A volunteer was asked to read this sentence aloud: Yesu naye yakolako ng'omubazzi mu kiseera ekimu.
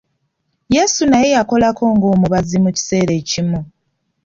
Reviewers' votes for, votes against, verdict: 2, 0, accepted